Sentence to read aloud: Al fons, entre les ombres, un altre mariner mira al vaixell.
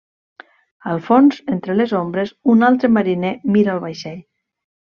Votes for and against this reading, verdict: 2, 0, accepted